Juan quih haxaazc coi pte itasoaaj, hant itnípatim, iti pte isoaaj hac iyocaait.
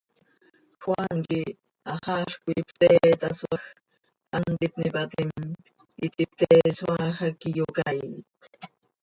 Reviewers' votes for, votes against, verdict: 0, 2, rejected